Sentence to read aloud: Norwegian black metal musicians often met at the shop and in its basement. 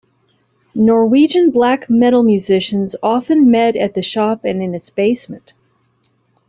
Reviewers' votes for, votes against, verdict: 1, 2, rejected